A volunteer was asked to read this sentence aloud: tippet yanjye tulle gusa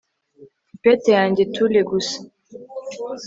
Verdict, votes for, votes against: accepted, 2, 0